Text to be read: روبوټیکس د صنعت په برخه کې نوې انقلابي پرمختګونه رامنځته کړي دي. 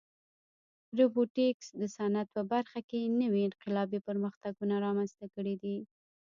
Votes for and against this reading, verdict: 1, 2, rejected